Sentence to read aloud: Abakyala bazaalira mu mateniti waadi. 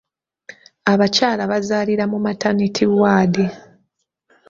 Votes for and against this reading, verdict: 1, 2, rejected